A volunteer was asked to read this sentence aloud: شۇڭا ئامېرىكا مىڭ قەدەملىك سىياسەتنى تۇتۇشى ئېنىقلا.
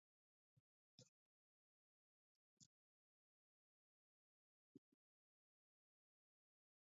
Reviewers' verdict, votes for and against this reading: rejected, 0, 2